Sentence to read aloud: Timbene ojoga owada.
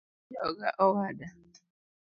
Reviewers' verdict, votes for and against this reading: rejected, 0, 2